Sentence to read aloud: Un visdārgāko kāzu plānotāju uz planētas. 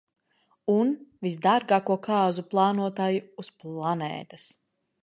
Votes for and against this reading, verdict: 3, 0, accepted